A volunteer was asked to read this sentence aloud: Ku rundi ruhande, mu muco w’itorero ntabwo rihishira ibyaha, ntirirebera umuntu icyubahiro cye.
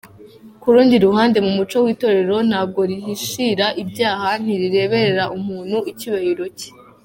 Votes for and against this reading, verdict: 2, 0, accepted